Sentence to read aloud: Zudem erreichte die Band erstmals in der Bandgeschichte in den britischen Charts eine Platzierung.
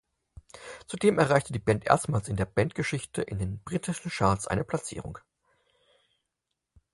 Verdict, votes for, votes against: accepted, 6, 0